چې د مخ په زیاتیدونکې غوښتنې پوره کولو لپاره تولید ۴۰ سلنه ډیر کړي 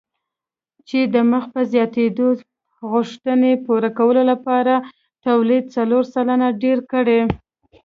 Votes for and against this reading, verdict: 0, 2, rejected